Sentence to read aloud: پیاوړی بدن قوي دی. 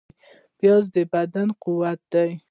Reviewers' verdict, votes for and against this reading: rejected, 1, 2